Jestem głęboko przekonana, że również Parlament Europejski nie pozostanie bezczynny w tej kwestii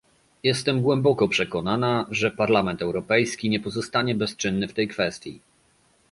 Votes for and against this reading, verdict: 0, 2, rejected